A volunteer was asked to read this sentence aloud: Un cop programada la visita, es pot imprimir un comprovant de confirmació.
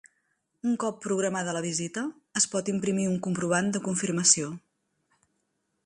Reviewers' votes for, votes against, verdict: 2, 0, accepted